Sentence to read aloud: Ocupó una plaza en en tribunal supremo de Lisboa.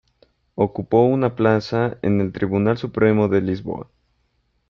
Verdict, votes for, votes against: rejected, 0, 2